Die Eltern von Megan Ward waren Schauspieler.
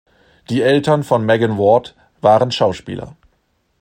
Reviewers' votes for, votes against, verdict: 2, 0, accepted